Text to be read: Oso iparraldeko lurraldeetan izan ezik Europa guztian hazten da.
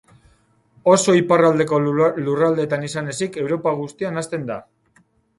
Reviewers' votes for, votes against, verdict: 2, 2, rejected